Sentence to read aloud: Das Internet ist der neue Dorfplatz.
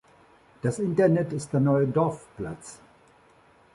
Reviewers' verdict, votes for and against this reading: accepted, 2, 0